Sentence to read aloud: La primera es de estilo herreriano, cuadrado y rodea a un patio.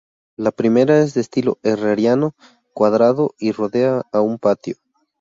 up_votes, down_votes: 2, 0